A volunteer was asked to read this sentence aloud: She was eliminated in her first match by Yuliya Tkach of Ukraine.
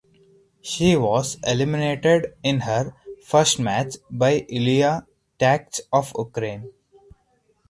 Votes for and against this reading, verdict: 4, 2, accepted